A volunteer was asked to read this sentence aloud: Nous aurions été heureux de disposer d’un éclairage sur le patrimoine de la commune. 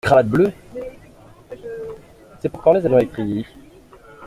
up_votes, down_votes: 0, 2